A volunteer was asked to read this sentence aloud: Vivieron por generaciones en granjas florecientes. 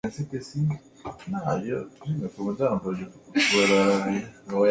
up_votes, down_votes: 0, 2